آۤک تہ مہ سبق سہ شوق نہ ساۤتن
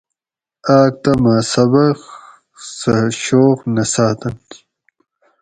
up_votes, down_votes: 4, 0